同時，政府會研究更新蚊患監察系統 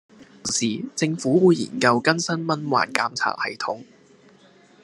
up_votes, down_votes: 3, 1